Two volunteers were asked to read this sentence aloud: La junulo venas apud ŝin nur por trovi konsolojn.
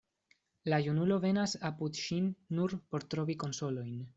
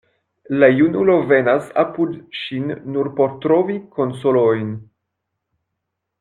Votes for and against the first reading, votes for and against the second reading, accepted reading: 2, 0, 0, 2, first